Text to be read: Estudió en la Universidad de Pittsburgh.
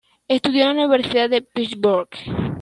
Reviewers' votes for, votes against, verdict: 1, 2, rejected